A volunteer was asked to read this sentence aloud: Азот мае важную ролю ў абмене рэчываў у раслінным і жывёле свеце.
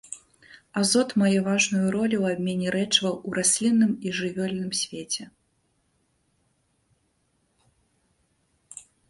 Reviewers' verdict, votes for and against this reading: rejected, 1, 2